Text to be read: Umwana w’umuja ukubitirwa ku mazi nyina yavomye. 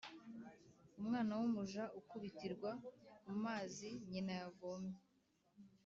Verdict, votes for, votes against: accepted, 2, 0